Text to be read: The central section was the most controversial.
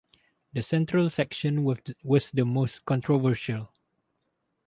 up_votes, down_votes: 0, 2